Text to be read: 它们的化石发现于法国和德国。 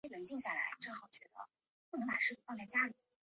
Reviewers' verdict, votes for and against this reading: rejected, 0, 3